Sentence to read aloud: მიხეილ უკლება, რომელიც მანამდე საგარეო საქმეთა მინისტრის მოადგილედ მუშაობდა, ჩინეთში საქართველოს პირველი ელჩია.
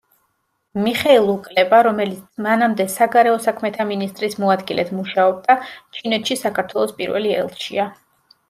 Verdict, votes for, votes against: accepted, 2, 0